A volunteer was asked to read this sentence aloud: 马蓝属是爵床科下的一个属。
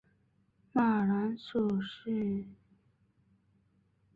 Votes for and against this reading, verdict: 0, 2, rejected